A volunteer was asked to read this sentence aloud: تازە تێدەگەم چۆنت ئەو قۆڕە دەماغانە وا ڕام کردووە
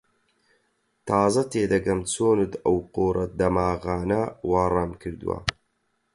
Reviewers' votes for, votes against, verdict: 4, 0, accepted